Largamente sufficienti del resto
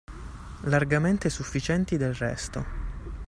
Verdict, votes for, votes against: accepted, 2, 0